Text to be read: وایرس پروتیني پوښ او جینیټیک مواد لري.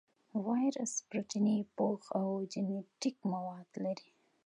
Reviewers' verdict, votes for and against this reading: accepted, 2, 0